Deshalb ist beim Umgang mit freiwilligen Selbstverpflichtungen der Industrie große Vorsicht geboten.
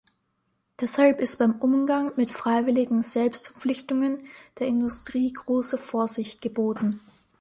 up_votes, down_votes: 1, 2